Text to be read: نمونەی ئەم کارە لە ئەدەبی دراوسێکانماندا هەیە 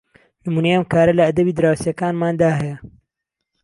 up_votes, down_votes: 2, 0